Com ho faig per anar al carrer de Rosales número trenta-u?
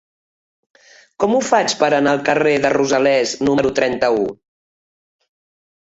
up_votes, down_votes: 1, 2